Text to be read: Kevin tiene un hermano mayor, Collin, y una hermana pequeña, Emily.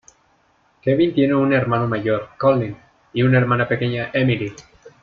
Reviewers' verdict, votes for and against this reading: accepted, 2, 0